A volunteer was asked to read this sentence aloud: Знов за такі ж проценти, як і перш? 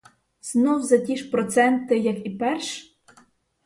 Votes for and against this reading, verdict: 2, 2, rejected